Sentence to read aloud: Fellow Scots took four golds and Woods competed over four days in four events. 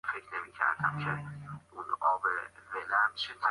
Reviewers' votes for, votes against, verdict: 0, 2, rejected